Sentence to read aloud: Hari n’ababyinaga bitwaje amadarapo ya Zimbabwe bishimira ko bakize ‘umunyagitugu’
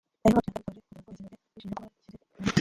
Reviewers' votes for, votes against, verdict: 0, 2, rejected